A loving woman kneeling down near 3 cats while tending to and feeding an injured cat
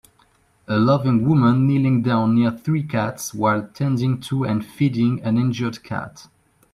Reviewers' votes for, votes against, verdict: 0, 2, rejected